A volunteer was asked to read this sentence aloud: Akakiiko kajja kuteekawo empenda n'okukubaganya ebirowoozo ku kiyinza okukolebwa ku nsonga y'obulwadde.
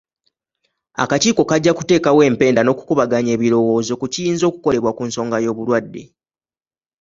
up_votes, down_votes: 2, 0